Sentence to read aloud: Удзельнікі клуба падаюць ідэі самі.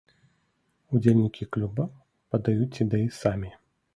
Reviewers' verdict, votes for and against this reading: accepted, 2, 0